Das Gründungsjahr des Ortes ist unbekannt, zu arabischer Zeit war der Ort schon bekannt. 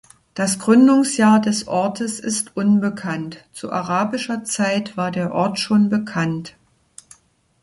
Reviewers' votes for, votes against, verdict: 2, 0, accepted